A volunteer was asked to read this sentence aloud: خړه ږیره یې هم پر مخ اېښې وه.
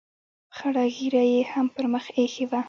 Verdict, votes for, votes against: accepted, 2, 0